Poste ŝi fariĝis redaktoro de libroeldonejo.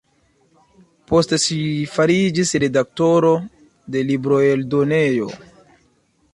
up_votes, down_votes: 2, 0